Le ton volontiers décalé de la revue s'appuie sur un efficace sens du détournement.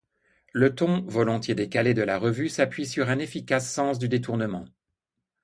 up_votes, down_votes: 2, 0